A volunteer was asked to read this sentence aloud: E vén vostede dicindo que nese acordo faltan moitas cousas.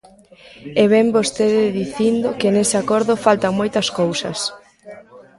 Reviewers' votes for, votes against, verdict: 2, 1, accepted